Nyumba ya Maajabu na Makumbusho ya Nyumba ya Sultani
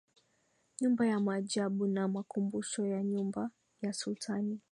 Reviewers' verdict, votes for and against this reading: rejected, 0, 2